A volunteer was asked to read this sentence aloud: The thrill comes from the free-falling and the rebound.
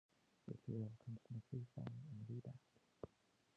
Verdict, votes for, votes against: rejected, 0, 2